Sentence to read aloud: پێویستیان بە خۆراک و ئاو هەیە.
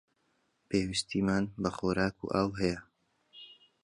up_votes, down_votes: 1, 2